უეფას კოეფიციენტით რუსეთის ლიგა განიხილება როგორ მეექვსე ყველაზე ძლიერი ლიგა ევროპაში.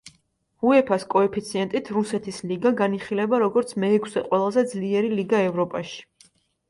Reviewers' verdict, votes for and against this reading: accepted, 2, 0